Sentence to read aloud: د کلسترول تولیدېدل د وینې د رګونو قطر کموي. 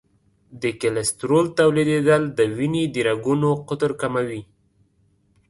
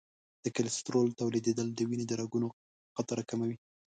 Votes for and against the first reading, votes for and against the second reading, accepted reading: 2, 0, 0, 2, first